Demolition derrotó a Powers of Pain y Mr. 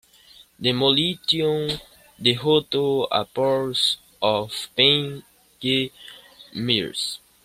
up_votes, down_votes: 0, 2